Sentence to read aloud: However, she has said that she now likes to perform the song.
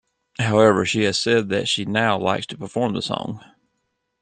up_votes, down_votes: 2, 0